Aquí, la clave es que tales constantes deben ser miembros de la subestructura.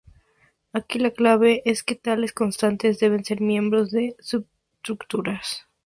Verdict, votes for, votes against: rejected, 0, 4